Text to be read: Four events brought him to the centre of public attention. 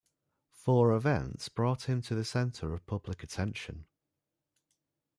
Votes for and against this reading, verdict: 2, 0, accepted